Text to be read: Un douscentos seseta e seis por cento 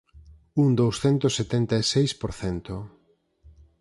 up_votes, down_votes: 0, 4